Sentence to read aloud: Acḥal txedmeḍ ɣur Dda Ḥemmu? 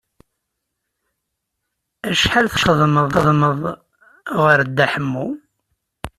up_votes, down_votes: 0, 2